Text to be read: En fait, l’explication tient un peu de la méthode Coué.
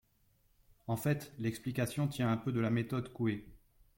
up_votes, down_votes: 2, 0